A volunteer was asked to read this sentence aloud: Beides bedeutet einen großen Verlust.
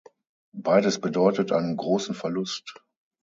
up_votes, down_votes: 6, 0